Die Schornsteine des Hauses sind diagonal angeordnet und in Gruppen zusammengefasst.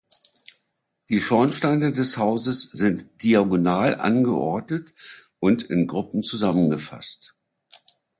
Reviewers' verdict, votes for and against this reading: accepted, 2, 0